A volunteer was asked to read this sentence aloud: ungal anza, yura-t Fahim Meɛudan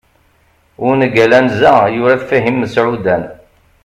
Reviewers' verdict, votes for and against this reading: accepted, 2, 0